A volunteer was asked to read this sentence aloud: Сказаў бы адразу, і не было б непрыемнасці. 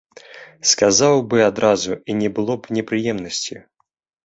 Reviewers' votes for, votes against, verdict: 2, 0, accepted